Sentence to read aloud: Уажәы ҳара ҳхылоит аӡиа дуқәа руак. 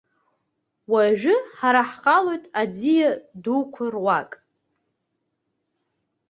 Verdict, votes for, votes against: rejected, 1, 2